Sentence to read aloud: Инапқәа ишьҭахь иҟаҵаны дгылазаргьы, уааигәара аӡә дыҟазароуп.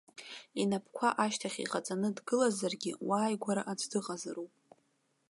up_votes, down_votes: 1, 2